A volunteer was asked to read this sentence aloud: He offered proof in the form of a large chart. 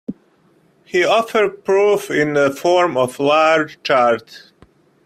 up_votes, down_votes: 1, 2